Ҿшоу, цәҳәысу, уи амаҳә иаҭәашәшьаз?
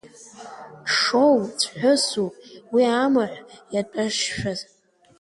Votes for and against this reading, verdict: 0, 2, rejected